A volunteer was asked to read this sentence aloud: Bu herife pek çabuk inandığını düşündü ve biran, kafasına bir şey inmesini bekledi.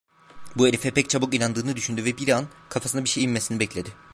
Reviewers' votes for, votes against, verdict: 1, 2, rejected